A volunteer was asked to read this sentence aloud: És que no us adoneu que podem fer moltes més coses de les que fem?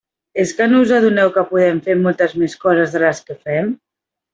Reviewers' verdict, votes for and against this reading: accepted, 2, 0